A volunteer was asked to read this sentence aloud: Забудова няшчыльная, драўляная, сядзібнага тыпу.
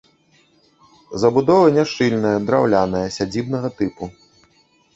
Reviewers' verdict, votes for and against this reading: rejected, 1, 2